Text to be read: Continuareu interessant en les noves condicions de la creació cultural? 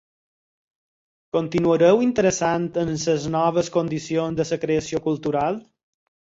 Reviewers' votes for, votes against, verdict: 6, 0, accepted